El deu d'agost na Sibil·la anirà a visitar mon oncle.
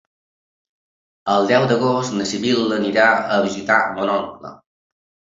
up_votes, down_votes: 3, 0